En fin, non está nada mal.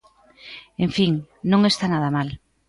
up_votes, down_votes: 3, 0